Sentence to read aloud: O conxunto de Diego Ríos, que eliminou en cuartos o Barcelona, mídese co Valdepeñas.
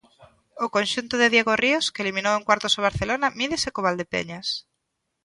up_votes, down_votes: 2, 0